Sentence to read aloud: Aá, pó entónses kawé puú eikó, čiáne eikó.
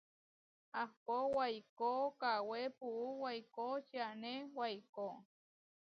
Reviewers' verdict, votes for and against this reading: rejected, 0, 2